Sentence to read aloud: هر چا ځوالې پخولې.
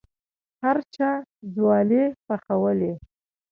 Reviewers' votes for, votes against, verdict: 2, 0, accepted